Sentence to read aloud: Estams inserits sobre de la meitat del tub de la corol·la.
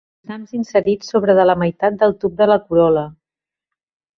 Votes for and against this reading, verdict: 1, 2, rejected